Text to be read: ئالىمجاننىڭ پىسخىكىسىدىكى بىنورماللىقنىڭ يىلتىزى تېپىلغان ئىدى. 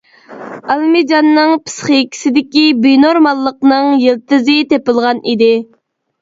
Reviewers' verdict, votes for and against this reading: rejected, 0, 2